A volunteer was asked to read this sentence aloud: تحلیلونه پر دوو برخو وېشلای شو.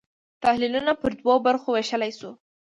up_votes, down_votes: 2, 0